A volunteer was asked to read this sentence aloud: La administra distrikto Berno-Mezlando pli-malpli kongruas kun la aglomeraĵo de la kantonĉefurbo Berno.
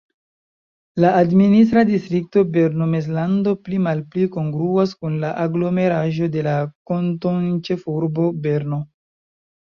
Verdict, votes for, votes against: accepted, 2, 0